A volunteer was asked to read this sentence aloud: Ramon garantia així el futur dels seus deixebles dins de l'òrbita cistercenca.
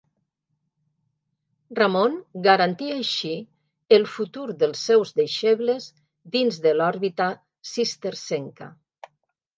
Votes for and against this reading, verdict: 2, 0, accepted